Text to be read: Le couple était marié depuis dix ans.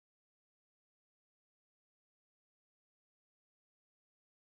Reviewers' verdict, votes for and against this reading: rejected, 0, 2